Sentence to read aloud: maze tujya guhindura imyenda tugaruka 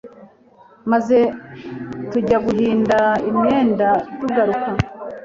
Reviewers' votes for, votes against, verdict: 1, 2, rejected